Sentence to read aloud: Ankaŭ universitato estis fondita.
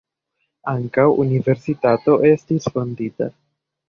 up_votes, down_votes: 2, 0